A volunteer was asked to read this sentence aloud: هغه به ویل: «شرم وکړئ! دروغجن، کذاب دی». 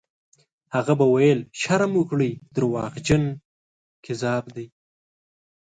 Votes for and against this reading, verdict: 2, 0, accepted